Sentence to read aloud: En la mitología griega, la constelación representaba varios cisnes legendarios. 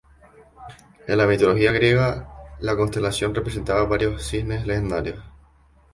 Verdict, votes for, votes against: accepted, 2, 0